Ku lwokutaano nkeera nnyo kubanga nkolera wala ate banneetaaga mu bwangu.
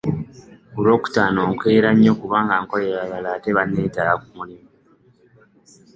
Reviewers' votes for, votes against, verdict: 0, 2, rejected